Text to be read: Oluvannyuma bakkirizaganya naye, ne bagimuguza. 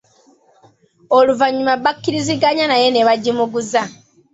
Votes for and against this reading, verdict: 2, 0, accepted